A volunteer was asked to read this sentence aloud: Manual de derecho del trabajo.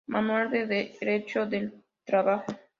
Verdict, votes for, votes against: accepted, 2, 0